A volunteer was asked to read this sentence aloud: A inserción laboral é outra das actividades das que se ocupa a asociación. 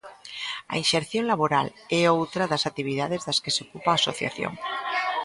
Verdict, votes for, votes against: rejected, 0, 2